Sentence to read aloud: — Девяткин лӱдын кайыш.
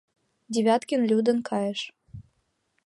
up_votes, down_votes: 2, 0